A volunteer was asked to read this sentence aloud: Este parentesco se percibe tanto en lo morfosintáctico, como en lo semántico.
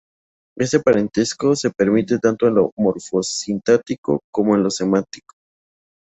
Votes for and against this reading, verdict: 0, 2, rejected